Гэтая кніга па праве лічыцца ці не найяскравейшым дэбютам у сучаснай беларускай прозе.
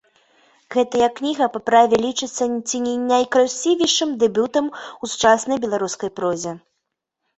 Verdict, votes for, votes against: rejected, 0, 3